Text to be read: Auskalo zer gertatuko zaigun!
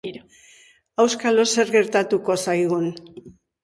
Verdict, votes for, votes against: rejected, 1, 2